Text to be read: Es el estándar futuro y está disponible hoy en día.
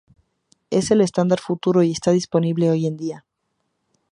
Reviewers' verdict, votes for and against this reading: accepted, 2, 0